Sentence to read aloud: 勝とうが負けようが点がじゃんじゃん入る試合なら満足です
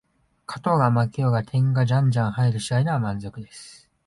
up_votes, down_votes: 2, 0